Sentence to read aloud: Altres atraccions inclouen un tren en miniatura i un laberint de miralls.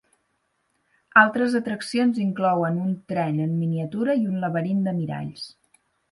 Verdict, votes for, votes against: accepted, 6, 0